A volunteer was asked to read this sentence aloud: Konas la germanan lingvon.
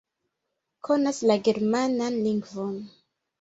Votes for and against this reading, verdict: 1, 2, rejected